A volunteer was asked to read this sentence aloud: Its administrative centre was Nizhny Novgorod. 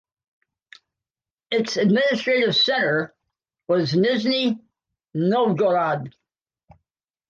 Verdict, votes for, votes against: accepted, 2, 0